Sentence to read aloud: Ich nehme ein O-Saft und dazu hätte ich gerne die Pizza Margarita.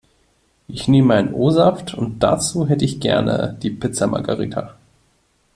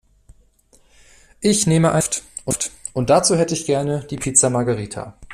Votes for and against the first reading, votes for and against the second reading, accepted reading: 2, 0, 0, 2, first